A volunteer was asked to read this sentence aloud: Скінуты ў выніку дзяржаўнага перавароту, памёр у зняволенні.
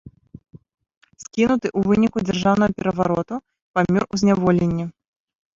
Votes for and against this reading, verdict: 1, 2, rejected